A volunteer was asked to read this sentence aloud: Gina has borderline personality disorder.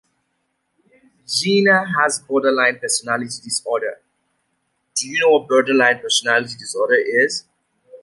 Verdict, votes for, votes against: rejected, 0, 2